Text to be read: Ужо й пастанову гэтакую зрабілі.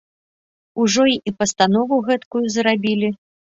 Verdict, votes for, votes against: rejected, 1, 2